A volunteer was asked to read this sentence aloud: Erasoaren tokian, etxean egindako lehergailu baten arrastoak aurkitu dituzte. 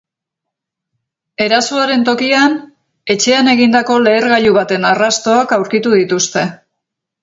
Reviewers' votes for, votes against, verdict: 6, 0, accepted